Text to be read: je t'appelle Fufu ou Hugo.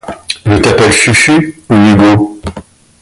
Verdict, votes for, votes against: rejected, 0, 2